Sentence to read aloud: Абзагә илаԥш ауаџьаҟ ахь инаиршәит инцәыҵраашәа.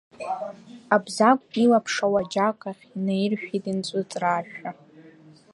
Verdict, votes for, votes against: accepted, 2, 0